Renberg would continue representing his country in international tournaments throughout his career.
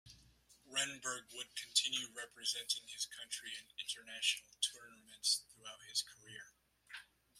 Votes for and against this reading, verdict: 0, 2, rejected